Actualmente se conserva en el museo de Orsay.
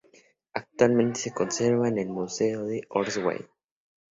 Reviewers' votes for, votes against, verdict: 2, 0, accepted